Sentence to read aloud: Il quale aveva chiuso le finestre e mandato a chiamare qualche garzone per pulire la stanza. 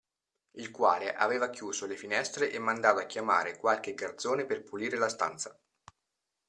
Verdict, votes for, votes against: accepted, 2, 0